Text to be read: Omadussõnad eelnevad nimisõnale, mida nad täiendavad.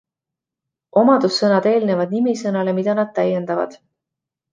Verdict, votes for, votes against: accepted, 2, 0